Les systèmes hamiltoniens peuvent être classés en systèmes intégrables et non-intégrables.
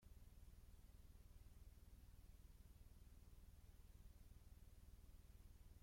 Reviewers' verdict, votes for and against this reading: rejected, 0, 2